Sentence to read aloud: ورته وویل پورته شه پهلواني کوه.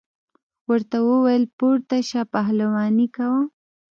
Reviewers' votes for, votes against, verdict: 1, 2, rejected